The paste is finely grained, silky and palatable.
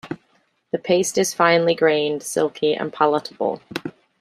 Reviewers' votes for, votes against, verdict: 2, 0, accepted